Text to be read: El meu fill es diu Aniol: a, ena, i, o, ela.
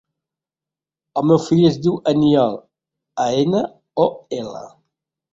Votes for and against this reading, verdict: 0, 3, rejected